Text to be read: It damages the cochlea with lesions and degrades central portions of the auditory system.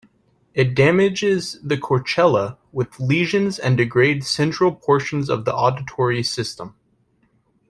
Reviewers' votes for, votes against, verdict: 0, 2, rejected